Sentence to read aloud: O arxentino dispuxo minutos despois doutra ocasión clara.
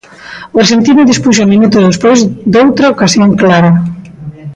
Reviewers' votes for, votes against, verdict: 2, 0, accepted